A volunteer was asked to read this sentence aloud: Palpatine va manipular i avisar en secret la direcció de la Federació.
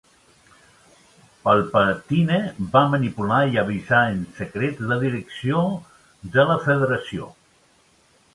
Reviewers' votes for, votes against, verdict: 2, 0, accepted